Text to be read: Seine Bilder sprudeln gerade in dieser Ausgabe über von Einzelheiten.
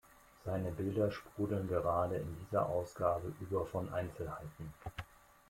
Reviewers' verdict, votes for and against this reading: accepted, 2, 0